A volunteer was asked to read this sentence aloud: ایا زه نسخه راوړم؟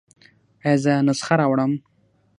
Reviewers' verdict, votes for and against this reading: accepted, 6, 0